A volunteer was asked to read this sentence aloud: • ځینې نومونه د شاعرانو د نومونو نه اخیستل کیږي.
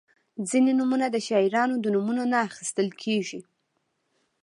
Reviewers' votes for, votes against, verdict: 2, 0, accepted